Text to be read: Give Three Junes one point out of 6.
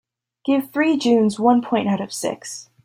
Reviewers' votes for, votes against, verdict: 0, 2, rejected